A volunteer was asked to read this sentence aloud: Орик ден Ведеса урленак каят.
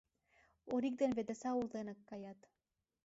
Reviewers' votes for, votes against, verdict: 0, 2, rejected